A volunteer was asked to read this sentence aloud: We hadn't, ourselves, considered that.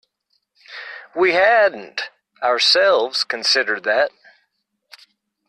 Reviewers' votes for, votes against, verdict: 2, 0, accepted